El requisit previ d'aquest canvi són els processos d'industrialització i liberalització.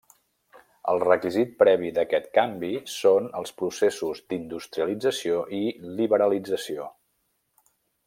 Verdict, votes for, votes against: rejected, 1, 2